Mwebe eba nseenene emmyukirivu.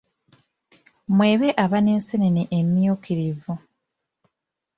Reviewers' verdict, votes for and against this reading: accepted, 2, 1